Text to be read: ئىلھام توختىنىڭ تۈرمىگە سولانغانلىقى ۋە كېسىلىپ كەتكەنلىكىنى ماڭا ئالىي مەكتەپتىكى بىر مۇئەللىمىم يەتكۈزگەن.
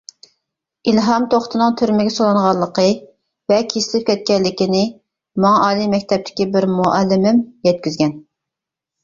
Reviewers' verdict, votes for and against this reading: accepted, 2, 0